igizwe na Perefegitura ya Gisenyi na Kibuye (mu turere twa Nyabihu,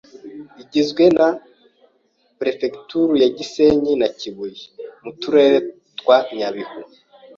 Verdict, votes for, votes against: accepted, 2, 0